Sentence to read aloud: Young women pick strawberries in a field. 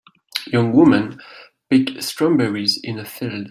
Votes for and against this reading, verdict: 0, 2, rejected